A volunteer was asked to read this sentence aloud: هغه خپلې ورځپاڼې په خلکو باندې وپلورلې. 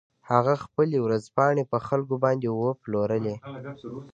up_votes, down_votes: 1, 2